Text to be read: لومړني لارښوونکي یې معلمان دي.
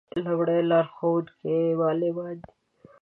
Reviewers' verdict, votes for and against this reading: rejected, 0, 2